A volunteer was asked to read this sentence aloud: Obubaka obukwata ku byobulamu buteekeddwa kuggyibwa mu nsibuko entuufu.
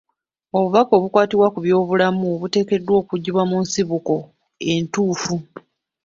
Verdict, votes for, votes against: accepted, 2, 1